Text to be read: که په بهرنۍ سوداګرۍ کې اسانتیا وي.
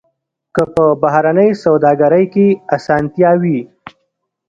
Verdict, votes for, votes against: rejected, 1, 2